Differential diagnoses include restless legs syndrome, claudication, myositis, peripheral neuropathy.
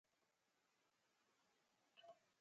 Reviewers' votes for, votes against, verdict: 0, 2, rejected